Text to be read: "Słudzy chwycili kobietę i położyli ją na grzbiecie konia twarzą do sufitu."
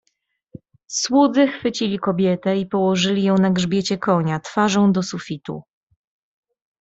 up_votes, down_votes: 2, 0